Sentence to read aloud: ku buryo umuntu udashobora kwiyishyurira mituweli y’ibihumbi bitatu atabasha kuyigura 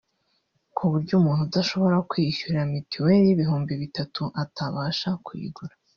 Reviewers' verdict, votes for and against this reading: rejected, 1, 2